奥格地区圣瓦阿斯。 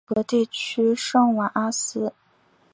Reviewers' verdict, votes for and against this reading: accepted, 2, 0